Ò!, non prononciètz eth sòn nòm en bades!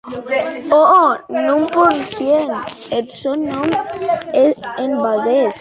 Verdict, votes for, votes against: rejected, 0, 2